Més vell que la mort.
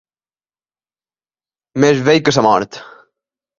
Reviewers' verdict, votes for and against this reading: rejected, 1, 2